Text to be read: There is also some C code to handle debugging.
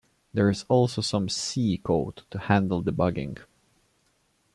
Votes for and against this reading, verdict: 2, 0, accepted